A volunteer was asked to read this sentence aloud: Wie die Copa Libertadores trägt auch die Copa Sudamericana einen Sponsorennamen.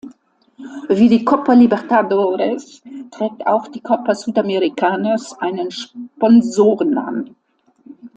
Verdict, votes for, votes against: rejected, 1, 2